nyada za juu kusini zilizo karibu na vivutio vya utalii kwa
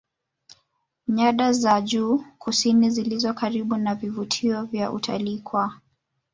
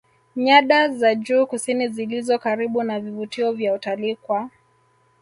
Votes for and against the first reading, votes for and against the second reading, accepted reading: 4, 0, 0, 2, first